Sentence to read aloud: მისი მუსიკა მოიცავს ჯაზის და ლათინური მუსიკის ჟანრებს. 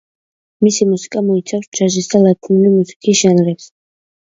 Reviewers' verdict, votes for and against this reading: rejected, 1, 2